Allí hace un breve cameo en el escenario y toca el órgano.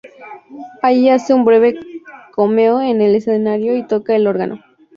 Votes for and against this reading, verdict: 2, 0, accepted